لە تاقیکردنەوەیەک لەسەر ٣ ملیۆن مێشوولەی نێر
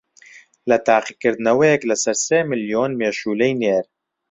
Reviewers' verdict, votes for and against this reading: rejected, 0, 2